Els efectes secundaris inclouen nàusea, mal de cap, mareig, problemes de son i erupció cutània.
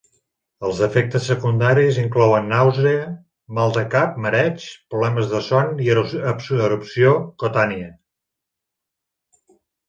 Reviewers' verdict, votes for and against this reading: rejected, 0, 5